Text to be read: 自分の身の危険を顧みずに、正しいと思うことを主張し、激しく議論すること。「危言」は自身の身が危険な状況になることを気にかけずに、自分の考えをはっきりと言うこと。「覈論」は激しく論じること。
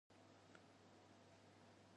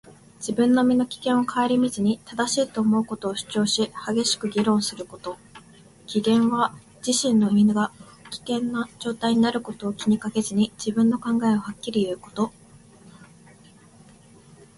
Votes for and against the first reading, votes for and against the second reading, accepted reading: 1, 2, 2, 1, second